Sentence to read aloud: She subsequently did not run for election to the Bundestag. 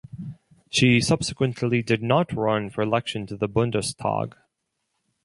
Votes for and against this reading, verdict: 4, 0, accepted